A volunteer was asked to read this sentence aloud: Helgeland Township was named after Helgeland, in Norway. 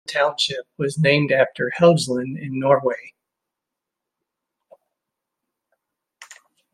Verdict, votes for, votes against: rejected, 0, 2